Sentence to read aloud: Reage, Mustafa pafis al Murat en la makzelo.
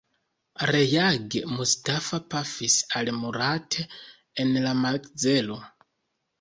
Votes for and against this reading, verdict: 2, 1, accepted